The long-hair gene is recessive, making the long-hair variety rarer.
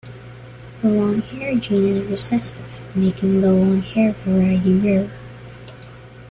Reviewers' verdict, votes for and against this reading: rejected, 1, 2